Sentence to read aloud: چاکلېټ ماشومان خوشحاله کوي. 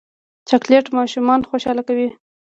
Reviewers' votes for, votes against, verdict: 1, 2, rejected